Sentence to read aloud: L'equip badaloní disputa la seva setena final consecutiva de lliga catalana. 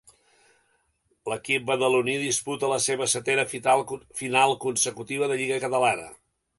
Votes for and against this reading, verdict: 0, 2, rejected